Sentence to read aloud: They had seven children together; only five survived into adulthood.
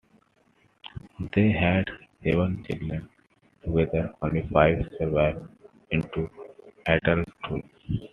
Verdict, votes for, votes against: accepted, 2, 1